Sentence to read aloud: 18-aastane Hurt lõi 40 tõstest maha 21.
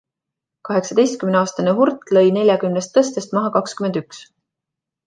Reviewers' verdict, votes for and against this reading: rejected, 0, 2